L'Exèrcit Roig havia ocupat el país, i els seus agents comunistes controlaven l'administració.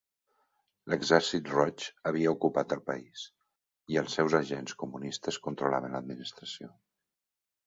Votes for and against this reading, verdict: 3, 0, accepted